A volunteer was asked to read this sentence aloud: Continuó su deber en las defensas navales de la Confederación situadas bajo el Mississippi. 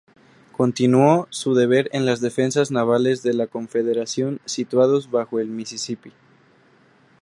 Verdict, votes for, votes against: rejected, 0, 2